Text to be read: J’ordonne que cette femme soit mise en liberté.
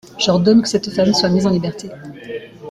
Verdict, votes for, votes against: rejected, 1, 2